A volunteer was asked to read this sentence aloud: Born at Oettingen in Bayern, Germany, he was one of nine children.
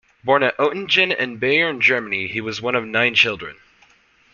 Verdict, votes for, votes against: accepted, 2, 0